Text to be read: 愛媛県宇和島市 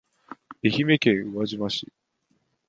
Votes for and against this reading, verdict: 4, 1, accepted